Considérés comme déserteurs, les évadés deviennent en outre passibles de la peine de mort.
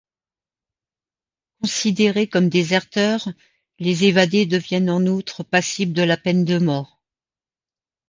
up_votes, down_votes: 2, 0